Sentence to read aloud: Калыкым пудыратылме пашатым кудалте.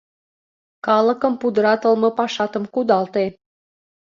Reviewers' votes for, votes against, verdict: 2, 0, accepted